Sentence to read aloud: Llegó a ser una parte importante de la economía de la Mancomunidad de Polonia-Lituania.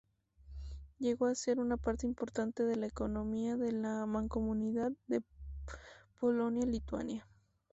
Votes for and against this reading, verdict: 2, 0, accepted